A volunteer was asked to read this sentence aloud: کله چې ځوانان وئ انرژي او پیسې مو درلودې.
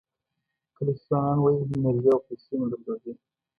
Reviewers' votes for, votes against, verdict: 1, 2, rejected